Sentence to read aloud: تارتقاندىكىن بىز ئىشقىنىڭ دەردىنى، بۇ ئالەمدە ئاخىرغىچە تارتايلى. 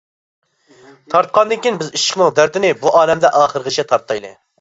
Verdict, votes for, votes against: rejected, 0, 2